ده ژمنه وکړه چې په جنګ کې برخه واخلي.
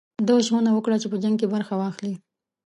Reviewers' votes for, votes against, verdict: 2, 0, accepted